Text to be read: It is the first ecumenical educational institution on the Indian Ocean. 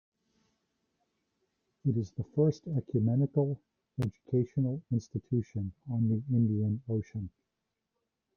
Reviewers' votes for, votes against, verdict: 2, 1, accepted